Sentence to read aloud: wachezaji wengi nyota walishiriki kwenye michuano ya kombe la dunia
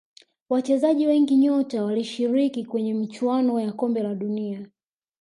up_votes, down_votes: 3, 0